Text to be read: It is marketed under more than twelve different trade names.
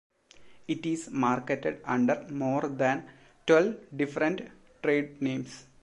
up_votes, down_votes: 2, 0